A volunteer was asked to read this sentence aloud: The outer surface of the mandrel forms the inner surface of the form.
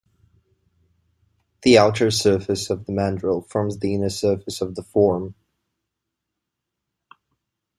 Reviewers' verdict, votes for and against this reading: accepted, 2, 0